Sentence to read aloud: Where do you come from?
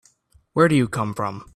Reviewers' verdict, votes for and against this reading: accepted, 2, 0